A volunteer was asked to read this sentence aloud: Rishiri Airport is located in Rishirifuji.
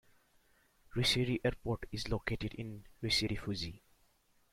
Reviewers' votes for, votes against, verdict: 2, 0, accepted